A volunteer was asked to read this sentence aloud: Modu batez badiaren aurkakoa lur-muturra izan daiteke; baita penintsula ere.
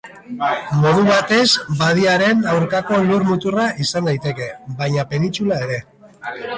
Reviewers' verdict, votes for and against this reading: rejected, 0, 2